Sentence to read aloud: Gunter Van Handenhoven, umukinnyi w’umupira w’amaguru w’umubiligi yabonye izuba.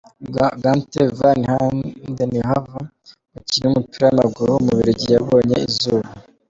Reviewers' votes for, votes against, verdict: 2, 0, accepted